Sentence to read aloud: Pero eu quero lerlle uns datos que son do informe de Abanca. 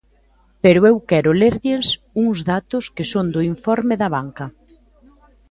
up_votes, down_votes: 2, 0